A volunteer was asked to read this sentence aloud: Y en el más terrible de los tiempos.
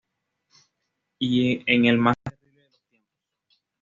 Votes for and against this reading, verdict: 1, 2, rejected